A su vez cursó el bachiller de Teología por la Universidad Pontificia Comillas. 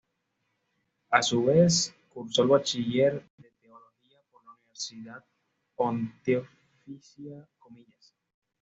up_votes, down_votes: 1, 2